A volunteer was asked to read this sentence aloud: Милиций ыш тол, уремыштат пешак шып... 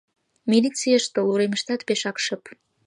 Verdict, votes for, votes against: rejected, 0, 2